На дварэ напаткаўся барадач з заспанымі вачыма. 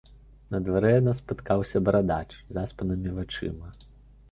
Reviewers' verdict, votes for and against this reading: rejected, 1, 2